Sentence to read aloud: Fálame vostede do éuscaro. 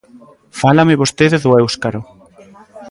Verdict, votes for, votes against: rejected, 1, 2